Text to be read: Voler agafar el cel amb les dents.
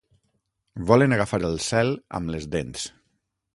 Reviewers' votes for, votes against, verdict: 0, 6, rejected